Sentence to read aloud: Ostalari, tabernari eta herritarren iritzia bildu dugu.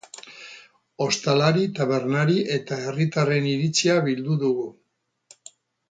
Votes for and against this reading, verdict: 0, 2, rejected